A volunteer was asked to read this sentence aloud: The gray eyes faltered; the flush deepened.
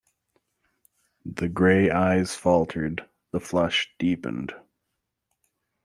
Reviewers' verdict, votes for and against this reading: accepted, 2, 0